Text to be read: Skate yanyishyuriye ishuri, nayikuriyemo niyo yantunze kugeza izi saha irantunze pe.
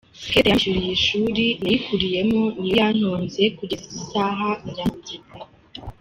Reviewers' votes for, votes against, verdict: 0, 2, rejected